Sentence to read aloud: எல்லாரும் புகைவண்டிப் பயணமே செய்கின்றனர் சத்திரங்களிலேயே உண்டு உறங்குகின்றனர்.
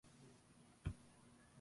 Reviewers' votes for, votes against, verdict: 0, 2, rejected